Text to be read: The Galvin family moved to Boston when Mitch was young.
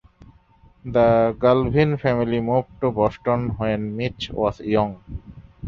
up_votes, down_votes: 2, 1